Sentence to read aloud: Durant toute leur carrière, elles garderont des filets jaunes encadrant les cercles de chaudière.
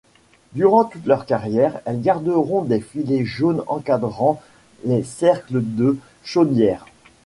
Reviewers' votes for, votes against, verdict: 2, 0, accepted